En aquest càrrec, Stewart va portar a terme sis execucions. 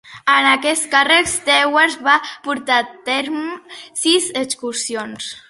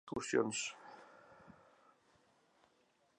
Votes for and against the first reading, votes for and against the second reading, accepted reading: 2, 0, 0, 3, first